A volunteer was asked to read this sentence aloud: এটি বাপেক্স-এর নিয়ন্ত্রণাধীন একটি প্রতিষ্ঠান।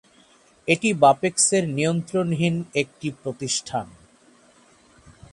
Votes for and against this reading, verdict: 3, 3, rejected